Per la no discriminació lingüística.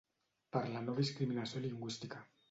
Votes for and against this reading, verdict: 2, 0, accepted